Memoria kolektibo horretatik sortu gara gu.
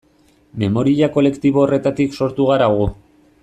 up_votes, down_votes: 2, 0